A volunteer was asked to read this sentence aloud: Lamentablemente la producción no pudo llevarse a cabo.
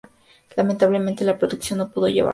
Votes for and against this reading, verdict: 0, 2, rejected